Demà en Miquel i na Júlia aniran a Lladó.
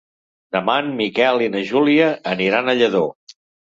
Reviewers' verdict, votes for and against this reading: accepted, 3, 0